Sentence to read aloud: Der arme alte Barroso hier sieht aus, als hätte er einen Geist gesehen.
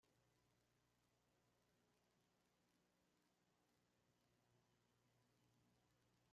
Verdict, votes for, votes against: rejected, 0, 2